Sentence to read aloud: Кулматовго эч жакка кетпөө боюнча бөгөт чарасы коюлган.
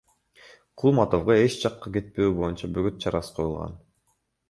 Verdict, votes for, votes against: rejected, 0, 2